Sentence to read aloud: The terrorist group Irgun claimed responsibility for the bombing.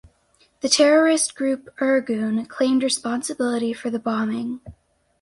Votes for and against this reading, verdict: 4, 0, accepted